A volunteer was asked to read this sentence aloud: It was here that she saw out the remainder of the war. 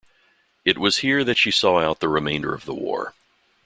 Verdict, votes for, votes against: accepted, 2, 0